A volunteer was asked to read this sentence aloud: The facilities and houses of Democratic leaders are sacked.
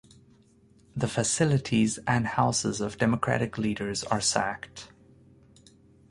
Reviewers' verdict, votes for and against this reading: accepted, 4, 0